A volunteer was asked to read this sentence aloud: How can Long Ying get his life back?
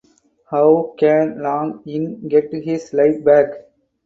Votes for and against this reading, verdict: 4, 0, accepted